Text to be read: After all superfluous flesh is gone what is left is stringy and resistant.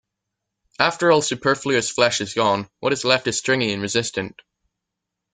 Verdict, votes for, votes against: accepted, 2, 0